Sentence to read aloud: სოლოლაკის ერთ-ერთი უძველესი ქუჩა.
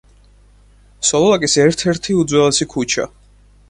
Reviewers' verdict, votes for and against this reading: accepted, 4, 0